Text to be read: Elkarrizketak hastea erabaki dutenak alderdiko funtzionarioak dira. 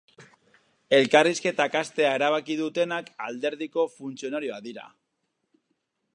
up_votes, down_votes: 2, 2